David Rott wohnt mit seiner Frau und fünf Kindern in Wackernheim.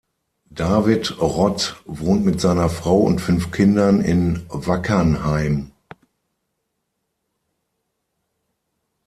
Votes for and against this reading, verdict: 6, 0, accepted